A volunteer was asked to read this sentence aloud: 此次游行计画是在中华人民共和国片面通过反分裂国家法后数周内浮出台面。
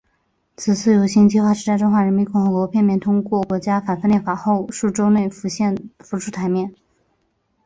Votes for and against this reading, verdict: 2, 0, accepted